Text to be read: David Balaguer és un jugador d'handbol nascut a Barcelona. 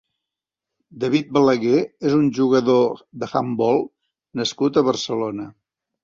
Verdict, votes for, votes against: accepted, 4, 0